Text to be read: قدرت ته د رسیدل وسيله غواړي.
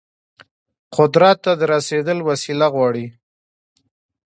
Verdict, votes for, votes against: accepted, 2, 1